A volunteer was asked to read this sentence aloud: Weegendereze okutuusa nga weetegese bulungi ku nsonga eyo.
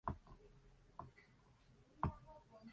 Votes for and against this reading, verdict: 1, 3, rejected